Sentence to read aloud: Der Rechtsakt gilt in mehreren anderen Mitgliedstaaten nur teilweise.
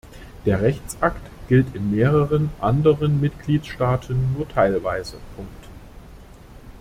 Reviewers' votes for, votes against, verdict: 0, 2, rejected